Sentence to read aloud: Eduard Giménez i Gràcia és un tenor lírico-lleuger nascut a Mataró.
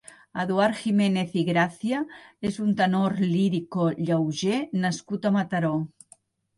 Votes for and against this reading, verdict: 1, 2, rejected